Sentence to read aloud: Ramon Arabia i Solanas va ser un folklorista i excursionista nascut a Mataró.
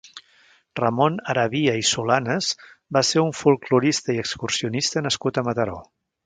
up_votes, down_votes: 2, 0